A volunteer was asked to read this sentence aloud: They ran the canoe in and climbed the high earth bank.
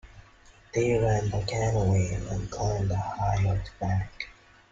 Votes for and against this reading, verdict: 2, 1, accepted